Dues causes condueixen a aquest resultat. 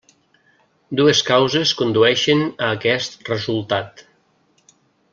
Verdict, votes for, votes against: accepted, 3, 1